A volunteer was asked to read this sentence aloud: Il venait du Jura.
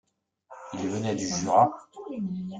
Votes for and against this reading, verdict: 2, 0, accepted